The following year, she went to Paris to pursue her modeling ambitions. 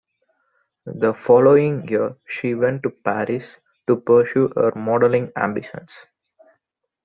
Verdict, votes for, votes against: accepted, 2, 1